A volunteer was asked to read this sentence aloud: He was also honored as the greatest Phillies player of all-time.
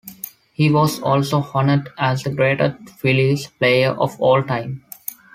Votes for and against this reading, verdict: 2, 0, accepted